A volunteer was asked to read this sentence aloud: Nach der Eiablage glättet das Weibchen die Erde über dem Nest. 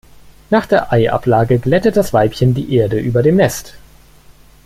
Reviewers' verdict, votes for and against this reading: accepted, 2, 0